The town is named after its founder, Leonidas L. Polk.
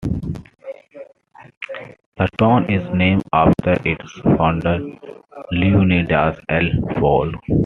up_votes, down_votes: 0, 2